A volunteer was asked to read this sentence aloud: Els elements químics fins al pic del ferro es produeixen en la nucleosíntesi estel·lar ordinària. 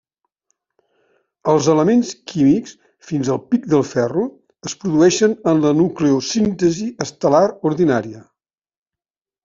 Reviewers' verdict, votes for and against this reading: accepted, 3, 1